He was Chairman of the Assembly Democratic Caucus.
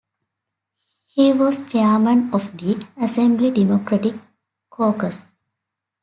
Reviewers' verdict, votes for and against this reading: accepted, 2, 1